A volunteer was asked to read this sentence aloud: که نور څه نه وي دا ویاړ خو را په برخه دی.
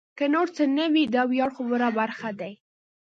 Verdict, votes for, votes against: rejected, 0, 2